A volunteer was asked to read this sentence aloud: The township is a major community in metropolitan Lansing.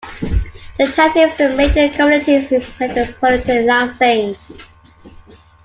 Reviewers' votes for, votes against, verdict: 0, 2, rejected